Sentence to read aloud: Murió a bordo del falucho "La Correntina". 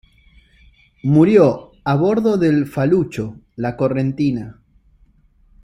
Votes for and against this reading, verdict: 2, 0, accepted